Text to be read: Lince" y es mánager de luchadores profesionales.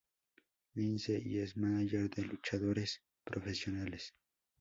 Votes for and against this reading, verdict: 4, 0, accepted